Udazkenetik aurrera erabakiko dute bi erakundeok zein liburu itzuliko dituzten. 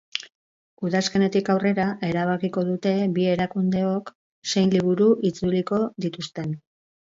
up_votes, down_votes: 4, 0